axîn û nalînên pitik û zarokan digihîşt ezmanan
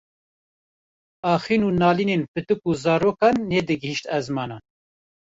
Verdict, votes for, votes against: rejected, 0, 2